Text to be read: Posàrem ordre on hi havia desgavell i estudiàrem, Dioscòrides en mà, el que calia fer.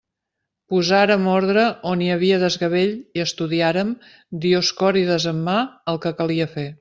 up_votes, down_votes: 3, 0